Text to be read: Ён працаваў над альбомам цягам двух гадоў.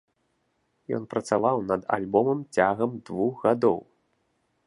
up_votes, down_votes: 2, 0